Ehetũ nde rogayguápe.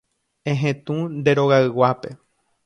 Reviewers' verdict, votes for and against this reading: accepted, 2, 0